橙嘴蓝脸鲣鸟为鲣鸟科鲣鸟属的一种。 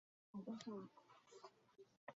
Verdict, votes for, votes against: accepted, 2, 0